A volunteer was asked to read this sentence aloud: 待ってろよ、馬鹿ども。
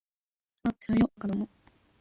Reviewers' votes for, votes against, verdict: 1, 2, rejected